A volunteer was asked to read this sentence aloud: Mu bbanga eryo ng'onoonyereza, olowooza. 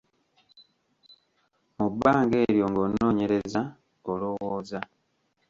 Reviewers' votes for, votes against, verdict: 0, 2, rejected